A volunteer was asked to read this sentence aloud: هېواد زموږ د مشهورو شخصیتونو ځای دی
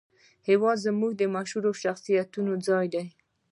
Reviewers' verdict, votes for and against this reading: accepted, 2, 1